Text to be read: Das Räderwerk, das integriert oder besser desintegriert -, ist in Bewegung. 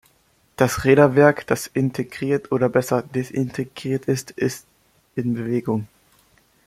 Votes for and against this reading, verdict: 0, 2, rejected